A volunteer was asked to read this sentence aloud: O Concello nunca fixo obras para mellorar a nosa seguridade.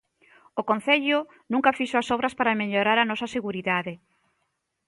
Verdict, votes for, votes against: rejected, 0, 2